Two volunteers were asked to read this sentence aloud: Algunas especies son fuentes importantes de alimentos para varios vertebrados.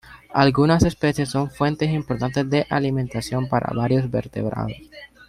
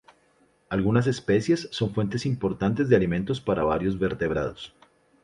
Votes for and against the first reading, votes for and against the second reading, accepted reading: 0, 2, 2, 0, second